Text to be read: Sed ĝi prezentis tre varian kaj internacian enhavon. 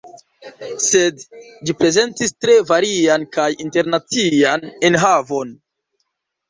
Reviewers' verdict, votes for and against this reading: accepted, 2, 0